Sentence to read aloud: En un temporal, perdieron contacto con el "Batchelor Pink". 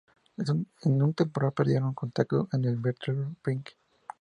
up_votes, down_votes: 2, 0